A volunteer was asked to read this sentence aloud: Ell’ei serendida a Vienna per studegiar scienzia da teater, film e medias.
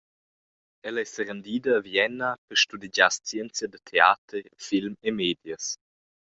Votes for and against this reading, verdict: 2, 0, accepted